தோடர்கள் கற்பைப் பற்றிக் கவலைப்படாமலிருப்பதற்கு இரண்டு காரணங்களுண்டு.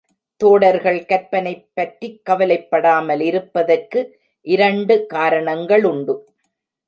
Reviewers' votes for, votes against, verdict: 0, 2, rejected